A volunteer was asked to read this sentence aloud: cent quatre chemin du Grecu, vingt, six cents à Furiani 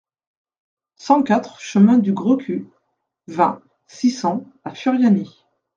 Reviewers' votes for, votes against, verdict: 2, 0, accepted